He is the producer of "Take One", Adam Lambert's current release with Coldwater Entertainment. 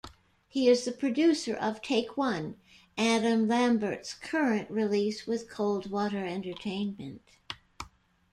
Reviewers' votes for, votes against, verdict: 2, 1, accepted